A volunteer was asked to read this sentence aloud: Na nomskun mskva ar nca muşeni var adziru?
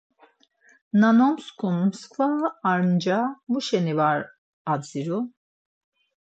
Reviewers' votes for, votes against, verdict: 4, 0, accepted